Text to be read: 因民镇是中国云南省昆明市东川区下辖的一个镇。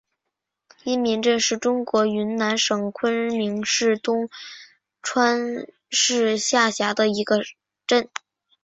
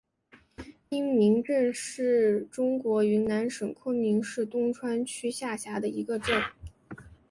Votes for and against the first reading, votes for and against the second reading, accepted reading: 1, 2, 2, 0, second